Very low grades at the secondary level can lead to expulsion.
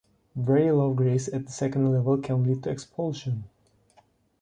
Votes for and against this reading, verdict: 1, 2, rejected